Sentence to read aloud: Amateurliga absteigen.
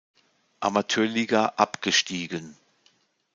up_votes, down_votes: 0, 2